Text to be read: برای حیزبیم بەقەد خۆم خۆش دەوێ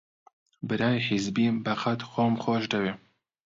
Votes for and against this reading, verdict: 2, 0, accepted